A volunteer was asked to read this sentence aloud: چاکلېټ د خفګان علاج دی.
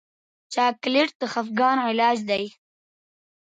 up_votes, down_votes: 2, 0